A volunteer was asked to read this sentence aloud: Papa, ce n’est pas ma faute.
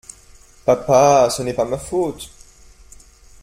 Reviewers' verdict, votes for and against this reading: accepted, 2, 0